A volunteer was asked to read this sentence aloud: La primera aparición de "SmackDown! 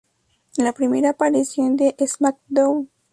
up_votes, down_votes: 2, 2